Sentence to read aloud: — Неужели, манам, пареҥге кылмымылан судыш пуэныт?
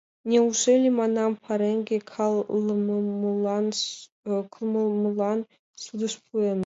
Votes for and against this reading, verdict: 0, 2, rejected